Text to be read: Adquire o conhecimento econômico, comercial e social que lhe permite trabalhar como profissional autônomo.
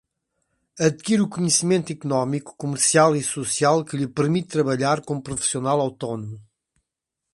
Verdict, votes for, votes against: accepted, 2, 0